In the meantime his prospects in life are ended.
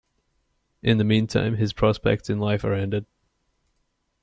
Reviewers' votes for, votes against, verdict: 2, 0, accepted